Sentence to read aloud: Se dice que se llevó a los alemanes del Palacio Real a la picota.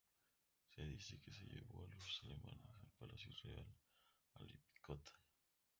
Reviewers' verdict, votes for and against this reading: rejected, 0, 2